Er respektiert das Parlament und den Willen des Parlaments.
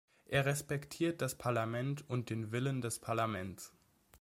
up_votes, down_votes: 2, 0